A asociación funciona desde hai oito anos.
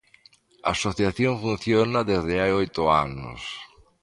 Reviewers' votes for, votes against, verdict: 2, 0, accepted